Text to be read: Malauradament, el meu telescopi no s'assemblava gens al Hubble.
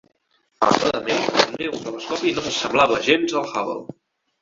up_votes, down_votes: 0, 3